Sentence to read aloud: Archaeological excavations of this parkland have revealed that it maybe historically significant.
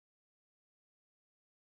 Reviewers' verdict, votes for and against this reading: rejected, 0, 2